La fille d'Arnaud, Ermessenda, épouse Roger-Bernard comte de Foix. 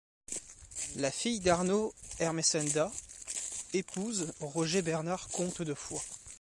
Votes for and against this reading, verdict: 0, 2, rejected